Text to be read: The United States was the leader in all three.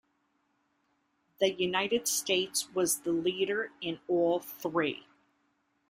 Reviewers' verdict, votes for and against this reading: accepted, 2, 0